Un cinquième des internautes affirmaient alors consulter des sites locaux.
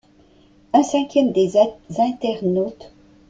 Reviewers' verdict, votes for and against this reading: rejected, 1, 2